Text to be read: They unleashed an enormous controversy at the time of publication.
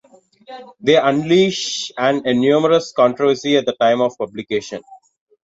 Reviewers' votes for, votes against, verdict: 2, 0, accepted